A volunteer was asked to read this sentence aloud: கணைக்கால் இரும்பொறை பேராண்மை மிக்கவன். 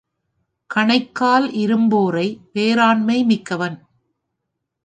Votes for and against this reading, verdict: 0, 3, rejected